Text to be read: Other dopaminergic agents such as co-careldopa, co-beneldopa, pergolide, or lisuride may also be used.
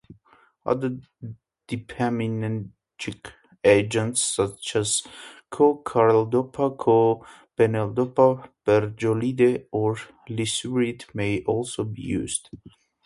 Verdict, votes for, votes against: rejected, 0, 2